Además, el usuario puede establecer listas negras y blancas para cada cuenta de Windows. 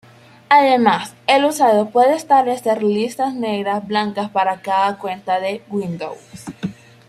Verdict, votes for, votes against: rejected, 0, 2